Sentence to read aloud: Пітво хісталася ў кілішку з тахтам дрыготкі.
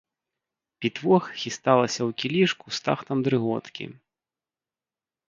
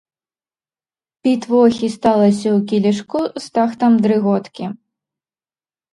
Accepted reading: first